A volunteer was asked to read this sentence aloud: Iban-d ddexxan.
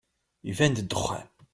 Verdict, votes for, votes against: accepted, 2, 0